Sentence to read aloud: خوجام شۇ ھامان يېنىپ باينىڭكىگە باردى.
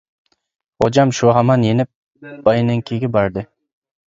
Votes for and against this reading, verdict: 2, 1, accepted